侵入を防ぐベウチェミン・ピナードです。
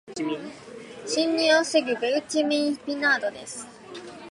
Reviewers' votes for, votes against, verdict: 2, 0, accepted